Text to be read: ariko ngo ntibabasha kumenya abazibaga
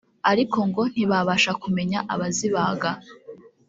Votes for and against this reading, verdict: 1, 2, rejected